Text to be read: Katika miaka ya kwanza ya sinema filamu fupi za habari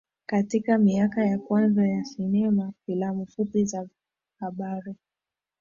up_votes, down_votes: 3, 0